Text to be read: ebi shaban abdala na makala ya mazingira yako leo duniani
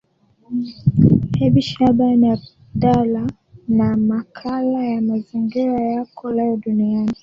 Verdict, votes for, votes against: accepted, 2, 1